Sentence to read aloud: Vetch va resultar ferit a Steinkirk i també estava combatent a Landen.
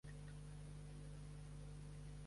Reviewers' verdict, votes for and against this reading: rejected, 0, 2